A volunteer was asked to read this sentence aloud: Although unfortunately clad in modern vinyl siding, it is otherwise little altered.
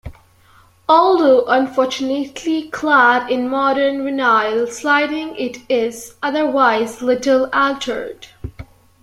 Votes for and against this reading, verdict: 0, 2, rejected